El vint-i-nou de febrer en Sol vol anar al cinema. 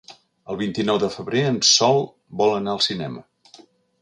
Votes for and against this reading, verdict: 4, 0, accepted